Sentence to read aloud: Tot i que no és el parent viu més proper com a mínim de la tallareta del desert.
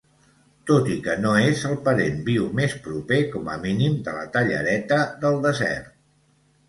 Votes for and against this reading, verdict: 2, 0, accepted